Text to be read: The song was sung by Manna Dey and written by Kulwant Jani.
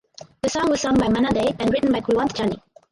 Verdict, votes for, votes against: rejected, 2, 2